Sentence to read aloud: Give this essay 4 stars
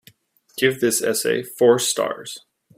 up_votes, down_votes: 0, 2